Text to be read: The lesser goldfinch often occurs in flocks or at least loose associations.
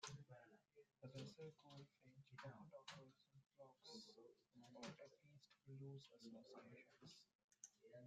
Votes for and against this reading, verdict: 0, 2, rejected